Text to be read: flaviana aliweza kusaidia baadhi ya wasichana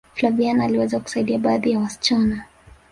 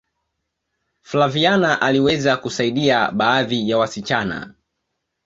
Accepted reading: second